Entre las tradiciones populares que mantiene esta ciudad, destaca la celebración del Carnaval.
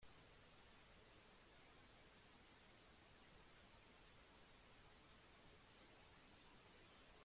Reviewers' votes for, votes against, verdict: 0, 2, rejected